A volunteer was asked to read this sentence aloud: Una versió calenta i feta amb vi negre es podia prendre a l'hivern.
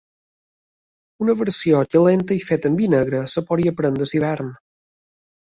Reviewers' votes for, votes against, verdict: 1, 2, rejected